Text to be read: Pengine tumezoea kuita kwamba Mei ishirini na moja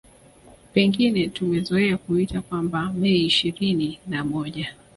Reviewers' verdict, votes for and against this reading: accepted, 2, 1